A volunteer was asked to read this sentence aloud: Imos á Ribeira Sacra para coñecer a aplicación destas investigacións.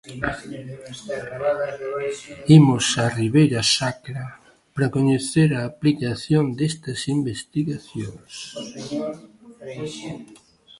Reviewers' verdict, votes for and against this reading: rejected, 0, 2